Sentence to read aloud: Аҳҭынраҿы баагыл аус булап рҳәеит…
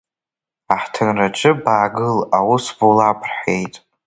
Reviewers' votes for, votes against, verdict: 0, 2, rejected